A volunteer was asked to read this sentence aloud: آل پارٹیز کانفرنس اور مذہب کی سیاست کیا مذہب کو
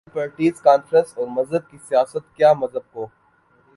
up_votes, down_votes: 1, 2